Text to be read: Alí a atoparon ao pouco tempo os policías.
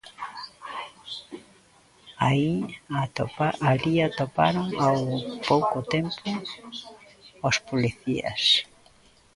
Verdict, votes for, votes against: rejected, 0, 2